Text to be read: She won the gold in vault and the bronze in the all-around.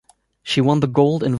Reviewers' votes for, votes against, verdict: 0, 2, rejected